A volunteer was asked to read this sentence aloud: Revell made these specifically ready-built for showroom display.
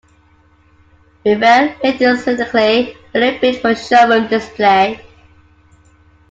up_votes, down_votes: 1, 2